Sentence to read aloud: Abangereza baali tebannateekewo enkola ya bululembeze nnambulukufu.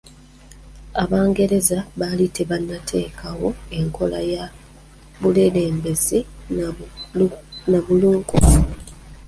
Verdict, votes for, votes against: rejected, 0, 2